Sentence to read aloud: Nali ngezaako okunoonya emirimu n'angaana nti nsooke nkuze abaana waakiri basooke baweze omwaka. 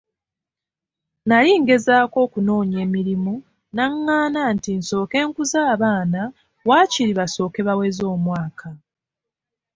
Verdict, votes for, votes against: accepted, 3, 0